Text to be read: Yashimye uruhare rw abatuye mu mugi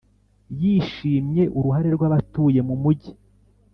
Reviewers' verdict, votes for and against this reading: rejected, 0, 2